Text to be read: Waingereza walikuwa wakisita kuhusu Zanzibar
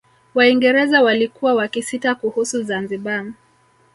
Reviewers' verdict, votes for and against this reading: rejected, 1, 2